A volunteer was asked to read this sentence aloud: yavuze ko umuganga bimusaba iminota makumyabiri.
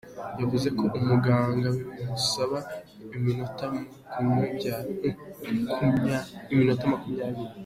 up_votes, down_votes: 1, 2